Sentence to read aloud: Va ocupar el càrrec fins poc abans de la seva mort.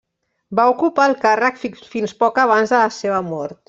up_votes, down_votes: 0, 2